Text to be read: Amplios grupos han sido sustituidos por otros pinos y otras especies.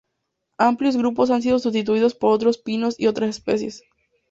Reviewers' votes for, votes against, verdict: 4, 0, accepted